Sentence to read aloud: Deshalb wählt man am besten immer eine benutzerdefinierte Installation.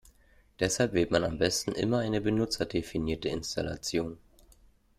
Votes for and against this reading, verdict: 2, 0, accepted